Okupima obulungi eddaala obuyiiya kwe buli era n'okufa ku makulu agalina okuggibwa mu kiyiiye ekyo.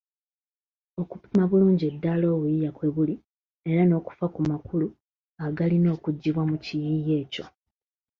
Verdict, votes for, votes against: rejected, 0, 2